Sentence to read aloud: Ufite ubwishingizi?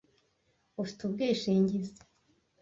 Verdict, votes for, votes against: accepted, 2, 0